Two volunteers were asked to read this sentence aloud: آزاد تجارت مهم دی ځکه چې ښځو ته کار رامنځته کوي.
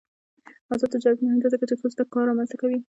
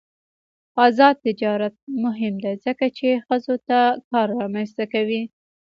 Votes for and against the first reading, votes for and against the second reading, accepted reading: 1, 2, 2, 0, second